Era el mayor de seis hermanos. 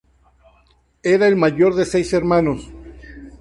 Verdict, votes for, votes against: accepted, 2, 0